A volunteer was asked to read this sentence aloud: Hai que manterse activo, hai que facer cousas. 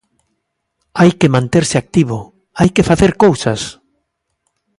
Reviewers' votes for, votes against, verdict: 2, 0, accepted